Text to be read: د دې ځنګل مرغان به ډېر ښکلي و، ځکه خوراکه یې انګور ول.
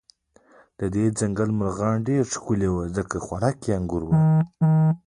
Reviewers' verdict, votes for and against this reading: accepted, 2, 1